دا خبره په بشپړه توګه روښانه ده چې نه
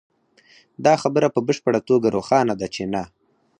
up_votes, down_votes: 0, 4